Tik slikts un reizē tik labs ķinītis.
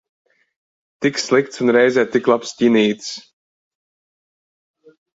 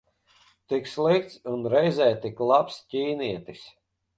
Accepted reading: first